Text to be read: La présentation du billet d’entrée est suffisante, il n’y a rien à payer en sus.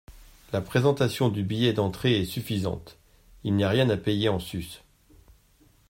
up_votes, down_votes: 2, 0